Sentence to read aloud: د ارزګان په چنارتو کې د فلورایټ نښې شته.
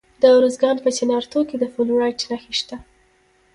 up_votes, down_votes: 2, 1